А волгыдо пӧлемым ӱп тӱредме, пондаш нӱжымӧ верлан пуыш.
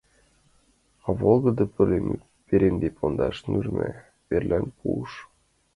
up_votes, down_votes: 1, 2